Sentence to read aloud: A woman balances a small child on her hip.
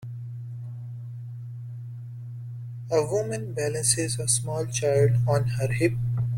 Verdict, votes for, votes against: accepted, 2, 0